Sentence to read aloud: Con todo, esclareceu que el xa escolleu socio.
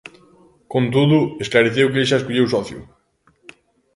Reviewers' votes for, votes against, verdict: 2, 0, accepted